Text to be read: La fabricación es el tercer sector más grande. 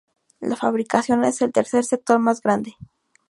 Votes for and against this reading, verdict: 2, 0, accepted